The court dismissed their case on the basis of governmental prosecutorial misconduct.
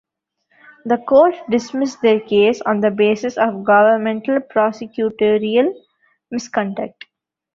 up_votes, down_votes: 0, 2